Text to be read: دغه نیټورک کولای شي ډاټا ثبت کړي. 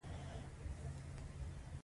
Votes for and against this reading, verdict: 0, 2, rejected